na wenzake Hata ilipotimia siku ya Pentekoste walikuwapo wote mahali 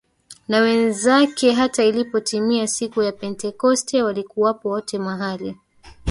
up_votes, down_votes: 1, 2